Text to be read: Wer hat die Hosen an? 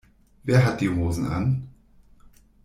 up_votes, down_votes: 3, 0